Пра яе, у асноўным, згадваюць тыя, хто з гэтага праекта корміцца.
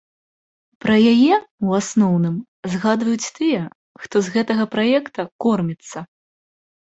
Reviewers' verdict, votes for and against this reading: accepted, 2, 0